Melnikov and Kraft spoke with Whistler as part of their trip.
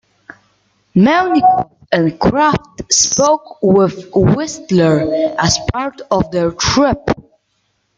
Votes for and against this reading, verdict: 1, 2, rejected